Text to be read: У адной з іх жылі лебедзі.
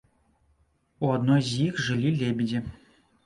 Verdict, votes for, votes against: rejected, 1, 2